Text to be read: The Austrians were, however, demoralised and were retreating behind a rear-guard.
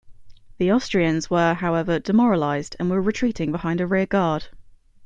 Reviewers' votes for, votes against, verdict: 2, 0, accepted